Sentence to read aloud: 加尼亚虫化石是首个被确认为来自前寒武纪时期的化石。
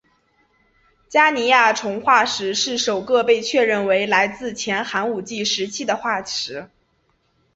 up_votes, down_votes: 2, 0